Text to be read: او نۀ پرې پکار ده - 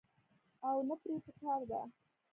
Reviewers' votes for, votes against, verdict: 1, 2, rejected